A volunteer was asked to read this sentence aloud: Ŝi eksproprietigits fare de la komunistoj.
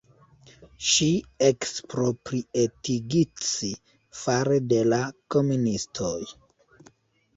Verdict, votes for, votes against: rejected, 0, 2